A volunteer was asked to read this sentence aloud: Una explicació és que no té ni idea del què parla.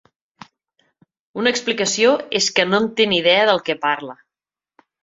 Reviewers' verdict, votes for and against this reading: rejected, 0, 2